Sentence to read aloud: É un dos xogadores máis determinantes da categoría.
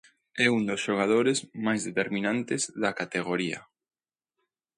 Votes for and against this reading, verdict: 2, 0, accepted